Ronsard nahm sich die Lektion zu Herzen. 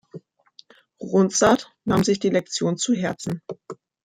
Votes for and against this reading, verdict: 1, 2, rejected